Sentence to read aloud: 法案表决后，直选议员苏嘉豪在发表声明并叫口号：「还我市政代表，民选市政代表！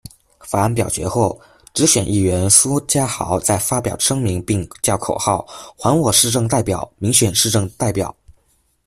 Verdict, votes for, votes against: accepted, 2, 0